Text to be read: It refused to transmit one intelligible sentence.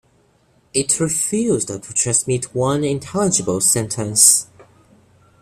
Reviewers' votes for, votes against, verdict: 1, 2, rejected